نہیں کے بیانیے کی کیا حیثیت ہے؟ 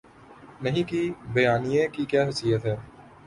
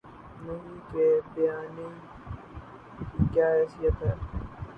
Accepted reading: first